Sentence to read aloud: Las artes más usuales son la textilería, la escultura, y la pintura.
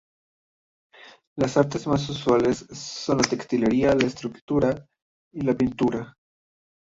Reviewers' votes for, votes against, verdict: 0, 3, rejected